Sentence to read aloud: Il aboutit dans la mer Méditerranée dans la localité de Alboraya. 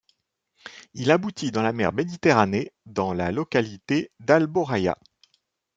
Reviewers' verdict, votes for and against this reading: accepted, 2, 0